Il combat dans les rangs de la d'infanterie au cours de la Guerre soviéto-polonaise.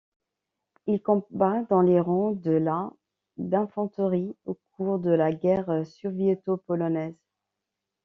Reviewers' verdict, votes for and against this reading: rejected, 1, 2